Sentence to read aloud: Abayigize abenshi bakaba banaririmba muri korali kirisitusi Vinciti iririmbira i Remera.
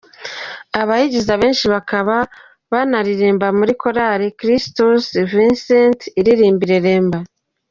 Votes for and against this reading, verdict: 0, 2, rejected